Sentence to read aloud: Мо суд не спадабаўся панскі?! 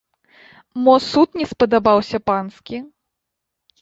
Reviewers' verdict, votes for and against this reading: accepted, 2, 0